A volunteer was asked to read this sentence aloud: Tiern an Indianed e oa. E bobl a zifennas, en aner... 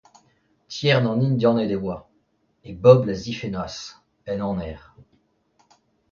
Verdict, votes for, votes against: accepted, 2, 0